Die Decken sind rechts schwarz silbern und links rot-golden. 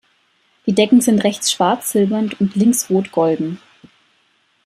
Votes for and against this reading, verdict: 2, 0, accepted